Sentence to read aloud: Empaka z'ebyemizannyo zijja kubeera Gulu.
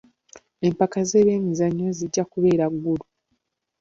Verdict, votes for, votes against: accepted, 2, 0